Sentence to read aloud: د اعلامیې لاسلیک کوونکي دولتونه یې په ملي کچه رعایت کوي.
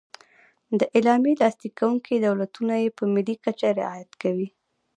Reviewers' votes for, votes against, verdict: 1, 2, rejected